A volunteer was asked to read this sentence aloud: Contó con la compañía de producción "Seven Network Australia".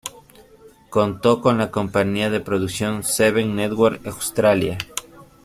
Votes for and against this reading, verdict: 2, 0, accepted